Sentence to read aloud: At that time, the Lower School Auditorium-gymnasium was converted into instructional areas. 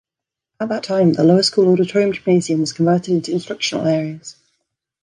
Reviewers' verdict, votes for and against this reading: accepted, 2, 1